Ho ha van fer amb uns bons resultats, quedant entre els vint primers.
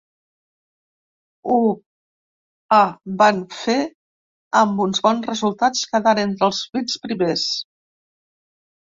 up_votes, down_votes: 1, 2